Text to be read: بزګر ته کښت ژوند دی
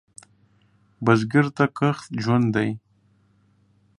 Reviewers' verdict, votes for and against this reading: accepted, 2, 0